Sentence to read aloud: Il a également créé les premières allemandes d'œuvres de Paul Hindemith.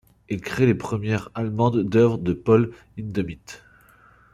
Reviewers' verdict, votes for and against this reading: rejected, 0, 2